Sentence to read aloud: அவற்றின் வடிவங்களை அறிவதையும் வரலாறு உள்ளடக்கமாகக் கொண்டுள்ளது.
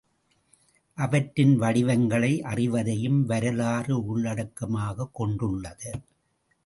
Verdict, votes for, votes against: accepted, 2, 0